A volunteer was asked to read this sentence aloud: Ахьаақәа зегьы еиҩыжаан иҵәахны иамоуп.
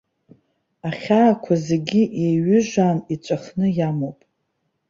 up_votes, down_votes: 2, 0